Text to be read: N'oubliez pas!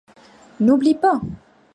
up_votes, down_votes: 0, 2